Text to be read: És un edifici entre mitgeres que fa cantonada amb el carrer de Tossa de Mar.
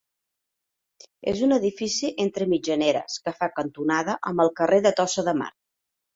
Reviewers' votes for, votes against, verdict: 2, 1, accepted